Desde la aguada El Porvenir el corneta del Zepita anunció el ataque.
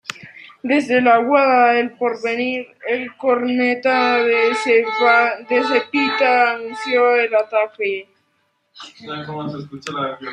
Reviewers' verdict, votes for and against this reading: rejected, 0, 2